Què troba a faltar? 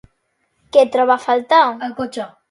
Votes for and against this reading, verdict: 0, 2, rejected